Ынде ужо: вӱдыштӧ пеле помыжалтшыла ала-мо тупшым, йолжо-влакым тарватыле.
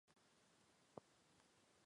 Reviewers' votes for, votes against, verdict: 1, 3, rejected